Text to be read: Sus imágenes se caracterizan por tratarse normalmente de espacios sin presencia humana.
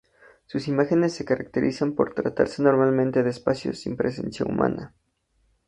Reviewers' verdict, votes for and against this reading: accepted, 4, 0